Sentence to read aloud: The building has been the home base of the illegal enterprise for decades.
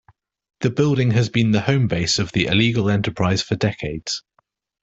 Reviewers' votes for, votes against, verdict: 2, 0, accepted